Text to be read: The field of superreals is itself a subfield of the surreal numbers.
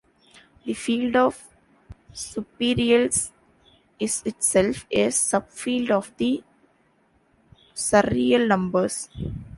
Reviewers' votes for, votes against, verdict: 1, 2, rejected